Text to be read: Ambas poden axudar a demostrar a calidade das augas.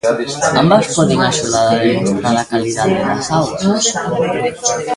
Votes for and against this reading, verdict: 0, 2, rejected